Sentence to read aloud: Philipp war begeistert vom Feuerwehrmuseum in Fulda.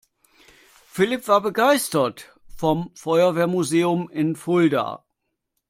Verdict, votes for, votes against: accepted, 2, 0